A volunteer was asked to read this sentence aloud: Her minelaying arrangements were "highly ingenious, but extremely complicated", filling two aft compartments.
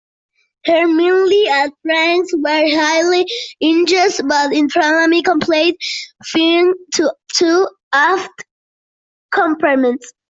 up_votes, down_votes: 0, 2